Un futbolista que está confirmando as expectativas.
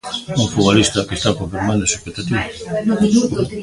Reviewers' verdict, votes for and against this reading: rejected, 0, 2